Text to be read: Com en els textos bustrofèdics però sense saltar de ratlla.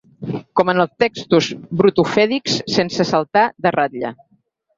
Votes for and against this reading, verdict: 4, 6, rejected